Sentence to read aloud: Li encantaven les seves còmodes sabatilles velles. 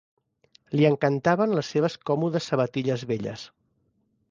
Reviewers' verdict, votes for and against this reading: accepted, 2, 0